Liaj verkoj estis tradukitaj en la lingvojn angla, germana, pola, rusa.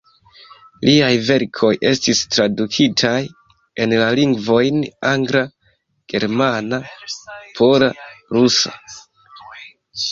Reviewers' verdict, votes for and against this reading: accepted, 2, 0